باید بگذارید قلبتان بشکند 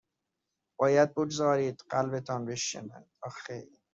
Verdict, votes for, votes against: rejected, 0, 2